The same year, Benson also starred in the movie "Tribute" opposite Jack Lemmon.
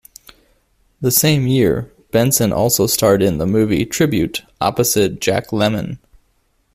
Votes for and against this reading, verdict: 2, 0, accepted